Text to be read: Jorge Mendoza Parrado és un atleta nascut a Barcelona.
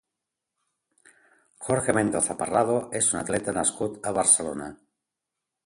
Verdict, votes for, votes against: accepted, 2, 0